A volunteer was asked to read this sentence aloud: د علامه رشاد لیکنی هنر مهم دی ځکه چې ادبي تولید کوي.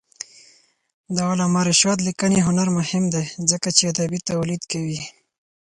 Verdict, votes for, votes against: accepted, 4, 2